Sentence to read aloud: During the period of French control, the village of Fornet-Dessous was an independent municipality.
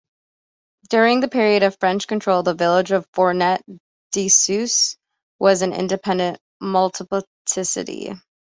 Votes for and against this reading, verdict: 1, 2, rejected